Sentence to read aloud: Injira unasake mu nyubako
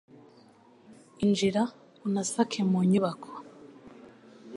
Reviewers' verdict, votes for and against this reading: accepted, 2, 0